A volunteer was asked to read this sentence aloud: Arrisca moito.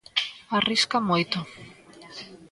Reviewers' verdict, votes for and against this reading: accepted, 2, 0